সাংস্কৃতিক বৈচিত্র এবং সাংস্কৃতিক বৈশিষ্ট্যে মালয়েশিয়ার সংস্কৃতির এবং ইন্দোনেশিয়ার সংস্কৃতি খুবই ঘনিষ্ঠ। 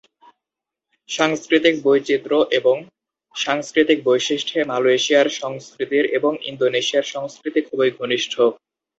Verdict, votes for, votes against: accepted, 2, 0